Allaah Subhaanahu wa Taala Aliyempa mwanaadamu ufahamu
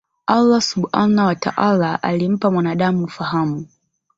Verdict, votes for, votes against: rejected, 2, 3